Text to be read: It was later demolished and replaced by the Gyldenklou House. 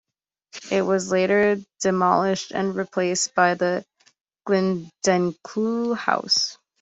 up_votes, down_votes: 2, 0